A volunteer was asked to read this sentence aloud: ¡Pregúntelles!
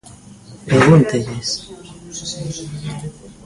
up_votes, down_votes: 0, 2